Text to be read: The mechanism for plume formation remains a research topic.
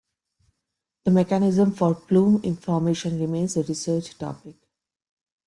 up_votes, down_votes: 0, 2